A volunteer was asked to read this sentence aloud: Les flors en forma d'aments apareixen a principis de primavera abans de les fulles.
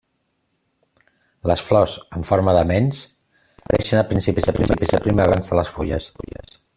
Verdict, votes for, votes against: rejected, 0, 2